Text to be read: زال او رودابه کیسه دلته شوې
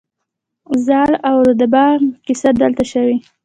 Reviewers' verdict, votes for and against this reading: accepted, 2, 0